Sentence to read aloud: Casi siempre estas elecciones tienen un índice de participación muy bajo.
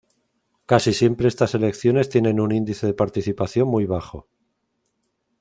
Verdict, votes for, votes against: accepted, 2, 0